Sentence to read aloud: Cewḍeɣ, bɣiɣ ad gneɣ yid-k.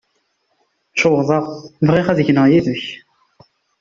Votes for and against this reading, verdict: 2, 0, accepted